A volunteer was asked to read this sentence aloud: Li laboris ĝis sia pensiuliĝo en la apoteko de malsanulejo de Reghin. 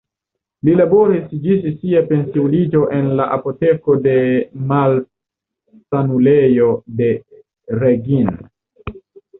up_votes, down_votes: 2, 0